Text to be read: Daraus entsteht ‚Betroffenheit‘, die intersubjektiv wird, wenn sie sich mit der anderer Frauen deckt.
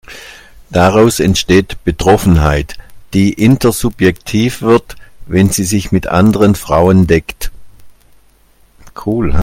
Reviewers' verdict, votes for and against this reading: rejected, 0, 2